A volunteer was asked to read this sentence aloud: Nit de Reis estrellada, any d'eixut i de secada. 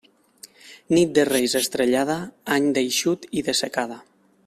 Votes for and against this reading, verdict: 3, 0, accepted